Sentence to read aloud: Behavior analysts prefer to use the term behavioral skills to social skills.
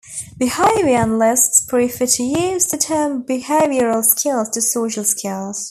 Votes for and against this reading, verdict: 2, 0, accepted